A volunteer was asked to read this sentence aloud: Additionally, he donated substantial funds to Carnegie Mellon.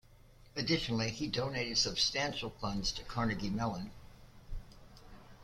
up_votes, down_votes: 1, 2